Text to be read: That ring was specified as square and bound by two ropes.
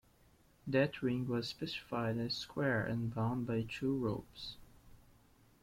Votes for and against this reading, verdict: 2, 1, accepted